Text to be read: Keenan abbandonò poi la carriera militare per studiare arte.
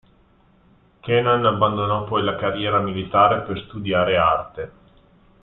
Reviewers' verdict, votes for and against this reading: rejected, 0, 2